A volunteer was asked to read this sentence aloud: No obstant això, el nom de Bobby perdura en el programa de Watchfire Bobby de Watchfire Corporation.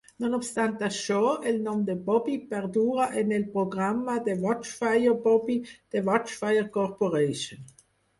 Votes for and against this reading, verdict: 4, 0, accepted